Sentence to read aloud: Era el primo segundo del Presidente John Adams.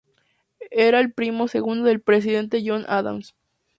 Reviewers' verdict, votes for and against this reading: accepted, 4, 0